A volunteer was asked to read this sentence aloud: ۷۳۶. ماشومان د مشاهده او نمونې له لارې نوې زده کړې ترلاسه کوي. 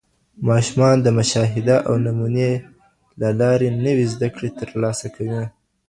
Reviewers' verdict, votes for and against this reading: rejected, 0, 2